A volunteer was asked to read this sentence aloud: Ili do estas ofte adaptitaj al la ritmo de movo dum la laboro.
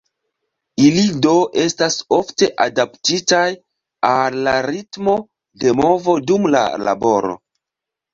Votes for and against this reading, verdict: 2, 0, accepted